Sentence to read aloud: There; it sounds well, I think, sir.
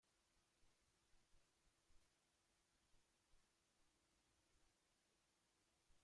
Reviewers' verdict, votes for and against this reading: rejected, 0, 2